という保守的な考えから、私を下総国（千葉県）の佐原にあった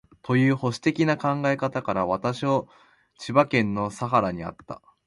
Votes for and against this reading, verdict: 2, 0, accepted